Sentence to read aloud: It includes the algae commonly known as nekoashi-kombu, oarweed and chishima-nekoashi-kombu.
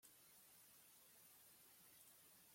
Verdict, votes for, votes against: rejected, 0, 2